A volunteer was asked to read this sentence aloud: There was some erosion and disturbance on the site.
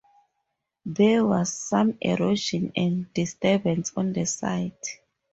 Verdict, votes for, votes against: accepted, 4, 0